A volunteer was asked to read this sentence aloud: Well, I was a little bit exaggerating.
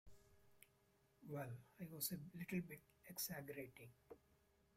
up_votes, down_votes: 0, 2